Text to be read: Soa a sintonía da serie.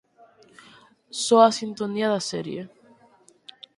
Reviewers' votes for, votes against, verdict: 6, 0, accepted